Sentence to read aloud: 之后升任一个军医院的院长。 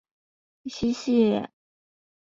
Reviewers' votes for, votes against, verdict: 0, 3, rejected